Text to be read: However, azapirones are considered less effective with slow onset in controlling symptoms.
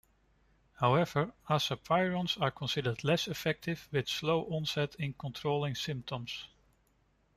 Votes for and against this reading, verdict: 2, 0, accepted